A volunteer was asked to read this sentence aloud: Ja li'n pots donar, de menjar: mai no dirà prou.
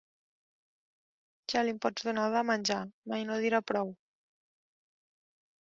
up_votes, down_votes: 0, 2